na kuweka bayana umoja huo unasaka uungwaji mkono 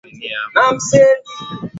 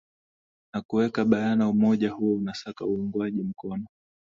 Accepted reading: second